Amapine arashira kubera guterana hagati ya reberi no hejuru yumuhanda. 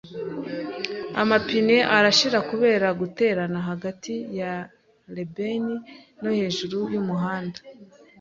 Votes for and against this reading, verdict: 2, 0, accepted